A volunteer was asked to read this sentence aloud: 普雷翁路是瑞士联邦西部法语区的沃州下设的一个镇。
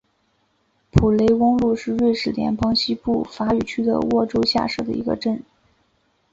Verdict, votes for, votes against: accepted, 2, 0